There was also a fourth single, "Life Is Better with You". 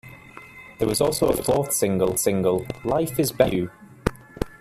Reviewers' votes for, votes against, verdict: 0, 2, rejected